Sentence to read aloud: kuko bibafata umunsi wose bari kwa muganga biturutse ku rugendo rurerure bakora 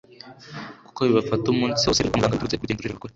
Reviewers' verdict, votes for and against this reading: rejected, 0, 2